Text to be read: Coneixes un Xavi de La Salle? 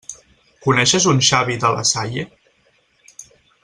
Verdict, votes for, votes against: accepted, 4, 0